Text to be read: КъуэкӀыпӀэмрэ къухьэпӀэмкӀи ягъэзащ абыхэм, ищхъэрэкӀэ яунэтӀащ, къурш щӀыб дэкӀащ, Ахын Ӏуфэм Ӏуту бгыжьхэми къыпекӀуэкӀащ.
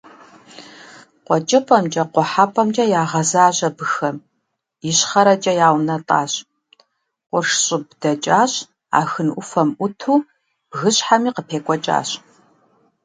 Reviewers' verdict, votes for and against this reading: accepted, 2, 0